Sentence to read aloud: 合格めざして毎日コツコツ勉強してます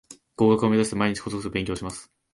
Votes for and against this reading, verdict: 1, 2, rejected